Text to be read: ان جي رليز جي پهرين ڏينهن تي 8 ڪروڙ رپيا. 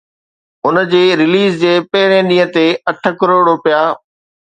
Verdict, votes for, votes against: rejected, 0, 2